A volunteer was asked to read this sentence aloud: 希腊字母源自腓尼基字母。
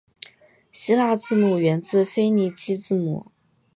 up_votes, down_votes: 2, 0